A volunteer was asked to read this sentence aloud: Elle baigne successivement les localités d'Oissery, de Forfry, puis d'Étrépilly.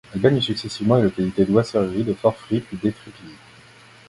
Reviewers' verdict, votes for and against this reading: rejected, 0, 2